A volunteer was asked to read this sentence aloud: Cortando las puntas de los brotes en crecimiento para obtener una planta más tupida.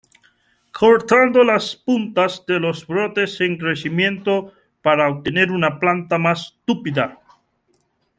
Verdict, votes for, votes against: accepted, 2, 1